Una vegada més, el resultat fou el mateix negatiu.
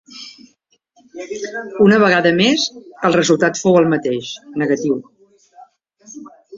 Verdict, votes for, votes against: rejected, 1, 2